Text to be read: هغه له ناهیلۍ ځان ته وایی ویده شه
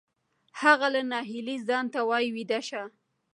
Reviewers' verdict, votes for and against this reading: rejected, 1, 2